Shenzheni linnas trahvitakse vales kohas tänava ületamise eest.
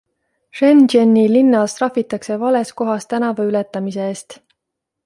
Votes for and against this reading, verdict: 2, 0, accepted